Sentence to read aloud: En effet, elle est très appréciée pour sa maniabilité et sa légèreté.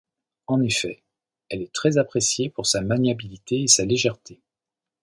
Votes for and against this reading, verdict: 2, 0, accepted